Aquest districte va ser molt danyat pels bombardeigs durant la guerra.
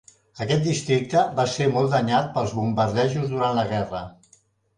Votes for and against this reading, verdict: 1, 2, rejected